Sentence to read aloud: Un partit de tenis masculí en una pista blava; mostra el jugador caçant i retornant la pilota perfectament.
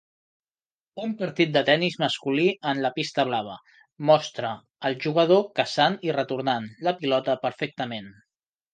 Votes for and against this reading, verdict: 0, 2, rejected